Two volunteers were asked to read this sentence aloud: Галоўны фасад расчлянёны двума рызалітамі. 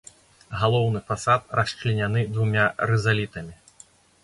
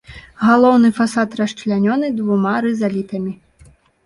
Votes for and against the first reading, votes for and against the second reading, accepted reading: 0, 2, 2, 0, second